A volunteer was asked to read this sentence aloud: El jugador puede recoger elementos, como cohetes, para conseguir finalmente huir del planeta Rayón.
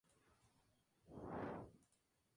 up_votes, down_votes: 0, 2